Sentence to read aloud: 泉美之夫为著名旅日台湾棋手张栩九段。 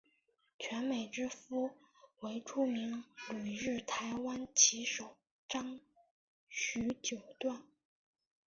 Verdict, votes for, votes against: rejected, 1, 3